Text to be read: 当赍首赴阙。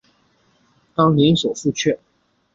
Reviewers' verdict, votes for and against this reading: rejected, 1, 3